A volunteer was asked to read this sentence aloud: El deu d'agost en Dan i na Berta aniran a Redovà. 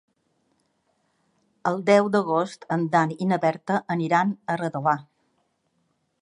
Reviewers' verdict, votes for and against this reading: accepted, 3, 0